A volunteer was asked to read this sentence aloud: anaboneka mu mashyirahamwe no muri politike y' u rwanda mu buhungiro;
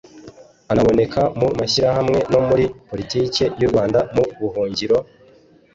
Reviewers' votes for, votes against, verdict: 2, 0, accepted